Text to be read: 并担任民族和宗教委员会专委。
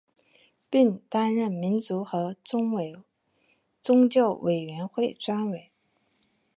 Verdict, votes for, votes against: accepted, 3, 2